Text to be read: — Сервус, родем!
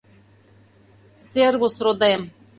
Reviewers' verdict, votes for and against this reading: accepted, 2, 0